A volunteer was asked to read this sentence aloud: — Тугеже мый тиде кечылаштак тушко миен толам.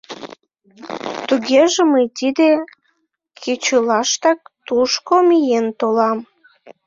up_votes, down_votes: 0, 3